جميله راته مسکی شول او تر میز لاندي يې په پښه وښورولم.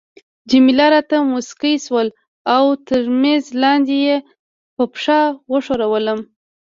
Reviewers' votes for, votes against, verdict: 2, 1, accepted